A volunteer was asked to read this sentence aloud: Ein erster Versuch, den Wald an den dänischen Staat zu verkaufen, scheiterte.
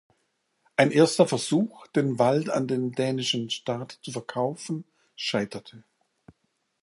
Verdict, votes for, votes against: accepted, 2, 0